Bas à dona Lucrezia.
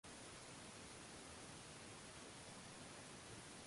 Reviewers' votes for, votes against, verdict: 0, 2, rejected